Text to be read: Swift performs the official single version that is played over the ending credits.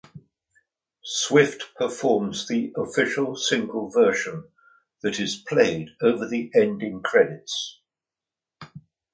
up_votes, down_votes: 2, 0